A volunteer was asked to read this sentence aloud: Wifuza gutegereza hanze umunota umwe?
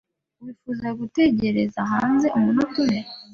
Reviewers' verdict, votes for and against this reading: accepted, 2, 0